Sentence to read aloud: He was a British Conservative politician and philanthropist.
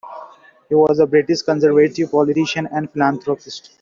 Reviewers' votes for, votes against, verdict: 2, 1, accepted